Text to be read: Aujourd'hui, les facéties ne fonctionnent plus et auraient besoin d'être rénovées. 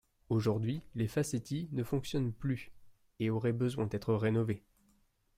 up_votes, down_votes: 2, 3